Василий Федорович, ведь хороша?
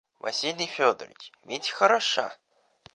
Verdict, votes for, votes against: accepted, 2, 0